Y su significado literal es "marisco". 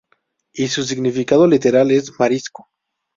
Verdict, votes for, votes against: accepted, 2, 0